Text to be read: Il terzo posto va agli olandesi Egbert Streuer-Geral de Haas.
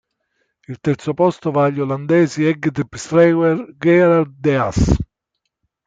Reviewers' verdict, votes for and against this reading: rejected, 1, 2